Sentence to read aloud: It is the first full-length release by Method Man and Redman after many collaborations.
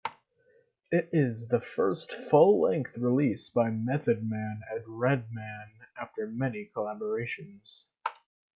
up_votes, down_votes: 2, 0